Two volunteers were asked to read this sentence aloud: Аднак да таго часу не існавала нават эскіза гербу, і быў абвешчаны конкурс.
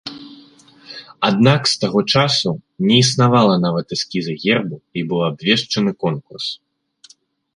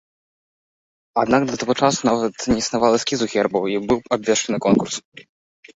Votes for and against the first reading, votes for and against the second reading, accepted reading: 0, 2, 2, 1, second